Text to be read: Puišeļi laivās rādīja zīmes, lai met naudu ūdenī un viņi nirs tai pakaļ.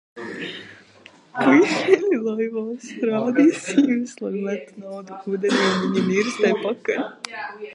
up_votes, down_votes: 0, 2